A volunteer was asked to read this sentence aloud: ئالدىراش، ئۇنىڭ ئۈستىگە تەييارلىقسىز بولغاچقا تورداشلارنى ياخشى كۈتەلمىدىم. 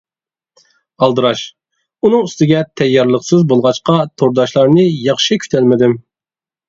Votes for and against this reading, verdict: 2, 0, accepted